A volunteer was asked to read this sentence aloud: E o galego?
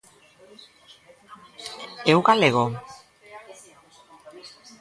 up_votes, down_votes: 0, 2